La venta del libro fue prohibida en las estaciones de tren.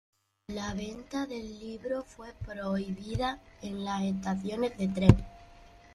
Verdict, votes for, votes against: accepted, 2, 0